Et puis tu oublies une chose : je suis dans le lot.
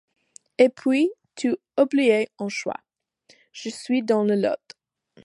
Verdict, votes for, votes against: rejected, 1, 2